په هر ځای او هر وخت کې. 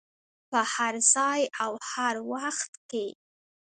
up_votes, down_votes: 1, 2